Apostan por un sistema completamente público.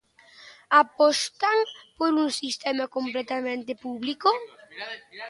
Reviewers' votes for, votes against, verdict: 1, 2, rejected